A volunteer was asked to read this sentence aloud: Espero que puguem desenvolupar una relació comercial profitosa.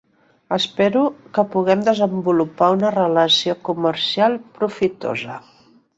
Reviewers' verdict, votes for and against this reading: accepted, 3, 0